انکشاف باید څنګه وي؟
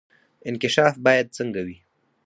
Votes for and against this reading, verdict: 4, 0, accepted